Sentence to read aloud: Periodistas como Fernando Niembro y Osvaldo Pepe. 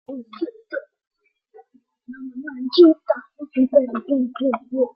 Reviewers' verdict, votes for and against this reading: rejected, 0, 2